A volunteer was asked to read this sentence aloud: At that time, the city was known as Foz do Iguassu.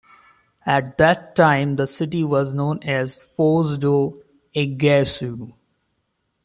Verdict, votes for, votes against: accepted, 2, 0